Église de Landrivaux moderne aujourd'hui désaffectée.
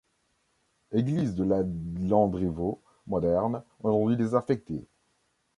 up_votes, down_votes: 0, 2